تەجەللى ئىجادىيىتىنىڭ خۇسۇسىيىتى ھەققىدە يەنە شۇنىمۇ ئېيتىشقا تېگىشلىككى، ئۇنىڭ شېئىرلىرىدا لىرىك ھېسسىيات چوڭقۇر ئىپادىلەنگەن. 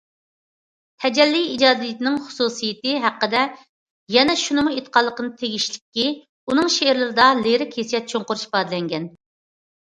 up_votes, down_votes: 0, 2